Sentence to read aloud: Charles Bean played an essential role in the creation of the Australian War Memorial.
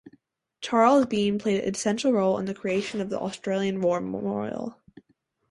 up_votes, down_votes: 2, 0